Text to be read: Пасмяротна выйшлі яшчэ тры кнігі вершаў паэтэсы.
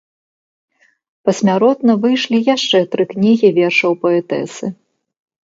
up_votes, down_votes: 2, 0